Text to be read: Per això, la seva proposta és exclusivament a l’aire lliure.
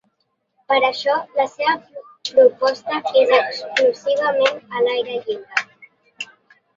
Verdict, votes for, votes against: rejected, 0, 2